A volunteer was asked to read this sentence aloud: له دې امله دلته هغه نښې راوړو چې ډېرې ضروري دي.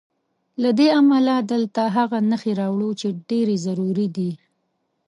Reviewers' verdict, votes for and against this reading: accepted, 2, 0